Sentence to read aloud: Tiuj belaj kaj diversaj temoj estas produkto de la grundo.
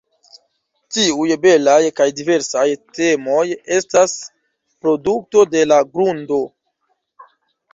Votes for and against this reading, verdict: 2, 0, accepted